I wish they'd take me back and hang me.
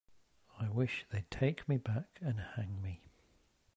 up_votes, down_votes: 1, 2